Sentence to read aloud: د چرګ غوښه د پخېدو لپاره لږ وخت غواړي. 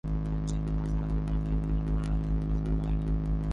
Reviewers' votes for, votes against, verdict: 1, 2, rejected